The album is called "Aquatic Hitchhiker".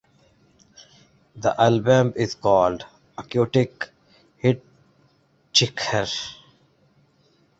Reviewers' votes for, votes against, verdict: 0, 2, rejected